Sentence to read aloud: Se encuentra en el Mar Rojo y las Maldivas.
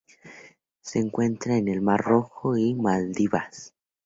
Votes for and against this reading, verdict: 0, 4, rejected